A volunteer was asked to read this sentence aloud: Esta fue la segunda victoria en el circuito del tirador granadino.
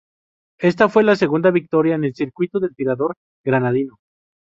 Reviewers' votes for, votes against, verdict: 2, 0, accepted